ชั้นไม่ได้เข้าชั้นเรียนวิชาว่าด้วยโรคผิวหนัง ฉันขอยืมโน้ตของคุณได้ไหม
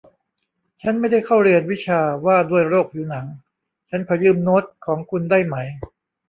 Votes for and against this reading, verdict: 1, 2, rejected